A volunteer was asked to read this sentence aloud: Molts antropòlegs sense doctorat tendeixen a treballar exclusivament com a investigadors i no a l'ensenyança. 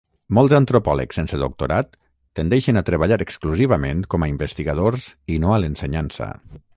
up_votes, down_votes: 3, 6